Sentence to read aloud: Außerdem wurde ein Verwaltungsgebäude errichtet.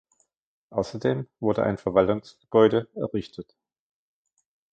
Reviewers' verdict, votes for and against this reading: rejected, 1, 2